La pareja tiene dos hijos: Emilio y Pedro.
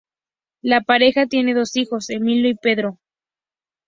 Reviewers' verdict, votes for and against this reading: accepted, 2, 0